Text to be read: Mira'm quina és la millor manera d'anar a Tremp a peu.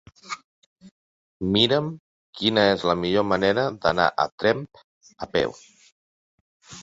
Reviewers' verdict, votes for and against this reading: accepted, 3, 0